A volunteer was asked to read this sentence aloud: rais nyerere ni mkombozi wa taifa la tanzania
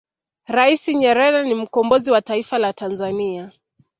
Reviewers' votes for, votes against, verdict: 1, 2, rejected